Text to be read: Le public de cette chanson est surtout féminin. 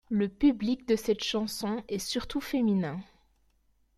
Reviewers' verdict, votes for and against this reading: accepted, 2, 0